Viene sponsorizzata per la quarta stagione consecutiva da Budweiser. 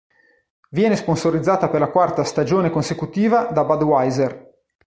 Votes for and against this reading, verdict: 4, 1, accepted